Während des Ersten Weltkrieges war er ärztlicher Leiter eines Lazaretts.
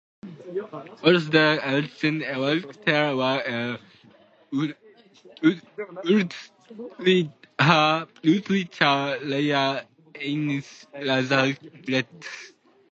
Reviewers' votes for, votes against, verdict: 0, 2, rejected